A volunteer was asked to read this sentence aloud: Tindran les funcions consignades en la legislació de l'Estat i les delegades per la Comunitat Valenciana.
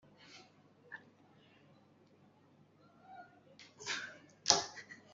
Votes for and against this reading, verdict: 0, 2, rejected